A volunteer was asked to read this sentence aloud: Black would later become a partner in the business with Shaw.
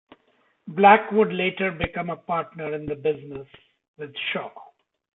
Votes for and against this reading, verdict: 2, 0, accepted